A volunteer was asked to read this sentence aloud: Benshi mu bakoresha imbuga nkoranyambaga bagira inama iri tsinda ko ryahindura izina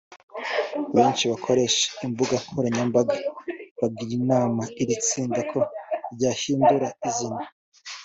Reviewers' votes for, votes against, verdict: 2, 0, accepted